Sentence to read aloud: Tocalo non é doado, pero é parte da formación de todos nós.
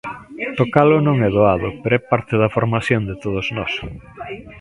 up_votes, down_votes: 1, 2